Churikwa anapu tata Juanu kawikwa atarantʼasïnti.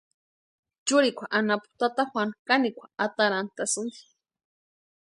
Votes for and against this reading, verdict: 0, 2, rejected